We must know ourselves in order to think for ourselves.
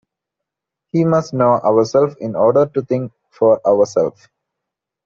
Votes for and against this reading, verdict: 0, 2, rejected